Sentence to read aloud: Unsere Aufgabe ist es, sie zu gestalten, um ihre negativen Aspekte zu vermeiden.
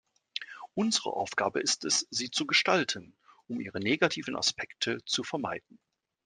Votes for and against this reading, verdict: 2, 0, accepted